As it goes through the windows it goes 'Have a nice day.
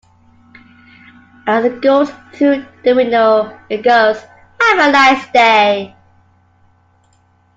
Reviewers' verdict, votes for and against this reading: accepted, 2, 0